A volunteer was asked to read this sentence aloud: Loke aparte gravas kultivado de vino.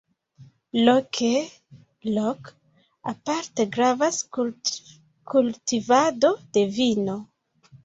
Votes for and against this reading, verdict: 0, 2, rejected